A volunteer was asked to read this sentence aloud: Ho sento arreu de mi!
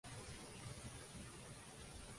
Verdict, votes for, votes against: rejected, 0, 2